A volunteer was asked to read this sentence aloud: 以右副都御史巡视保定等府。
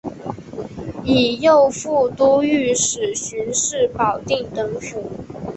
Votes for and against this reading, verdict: 2, 0, accepted